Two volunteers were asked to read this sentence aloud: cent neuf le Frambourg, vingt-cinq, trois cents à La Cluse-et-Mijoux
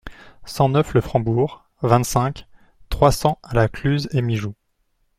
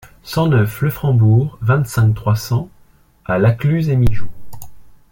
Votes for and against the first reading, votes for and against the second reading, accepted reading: 2, 0, 1, 2, first